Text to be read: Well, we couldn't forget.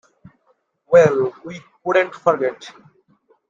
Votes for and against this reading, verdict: 2, 0, accepted